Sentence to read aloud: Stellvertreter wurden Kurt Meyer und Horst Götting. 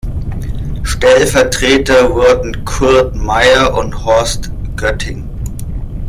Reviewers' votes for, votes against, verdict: 2, 0, accepted